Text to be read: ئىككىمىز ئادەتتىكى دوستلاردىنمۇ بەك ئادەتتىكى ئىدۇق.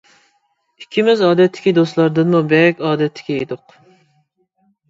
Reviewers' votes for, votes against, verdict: 2, 0, accepted